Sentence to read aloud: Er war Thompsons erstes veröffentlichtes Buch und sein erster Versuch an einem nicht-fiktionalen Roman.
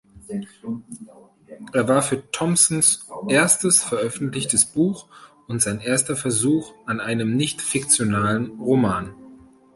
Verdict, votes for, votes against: rejected, 0, 2